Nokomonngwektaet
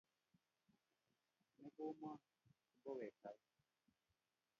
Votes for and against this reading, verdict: 1, 2, rejected